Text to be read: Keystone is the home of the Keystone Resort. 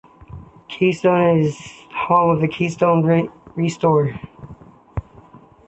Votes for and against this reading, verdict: 1, 2, rejected